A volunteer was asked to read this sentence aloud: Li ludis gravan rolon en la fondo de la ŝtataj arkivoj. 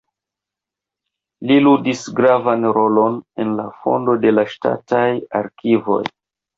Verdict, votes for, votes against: rejected, 0, 2